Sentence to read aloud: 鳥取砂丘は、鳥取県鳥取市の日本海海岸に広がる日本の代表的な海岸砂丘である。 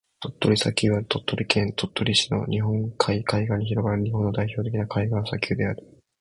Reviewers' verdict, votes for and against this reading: accepted, 2, 1